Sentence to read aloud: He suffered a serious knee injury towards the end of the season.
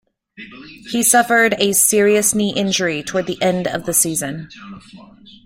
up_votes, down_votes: 2, 0